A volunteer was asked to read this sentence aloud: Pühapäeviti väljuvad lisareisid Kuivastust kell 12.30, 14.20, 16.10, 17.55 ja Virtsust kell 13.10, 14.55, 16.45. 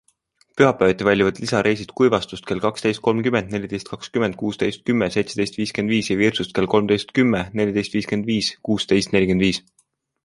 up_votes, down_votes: 0, 2